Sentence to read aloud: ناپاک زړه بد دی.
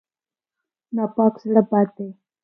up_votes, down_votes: 2, 0